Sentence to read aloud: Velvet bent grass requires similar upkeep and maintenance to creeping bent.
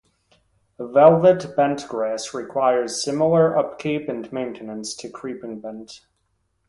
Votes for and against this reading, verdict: 4, 0, accepted